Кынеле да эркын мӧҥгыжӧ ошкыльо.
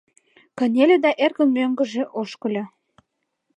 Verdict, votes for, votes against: accepted, 2, 0